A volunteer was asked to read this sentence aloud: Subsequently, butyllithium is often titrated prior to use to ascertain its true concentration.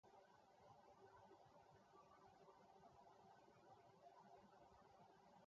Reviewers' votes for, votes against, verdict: 0, 2, rejected